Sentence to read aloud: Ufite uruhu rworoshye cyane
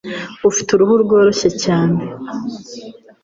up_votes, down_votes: 2, 0